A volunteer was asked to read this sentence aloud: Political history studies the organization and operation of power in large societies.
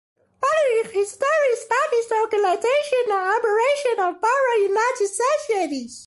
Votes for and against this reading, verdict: 0, 2, rejected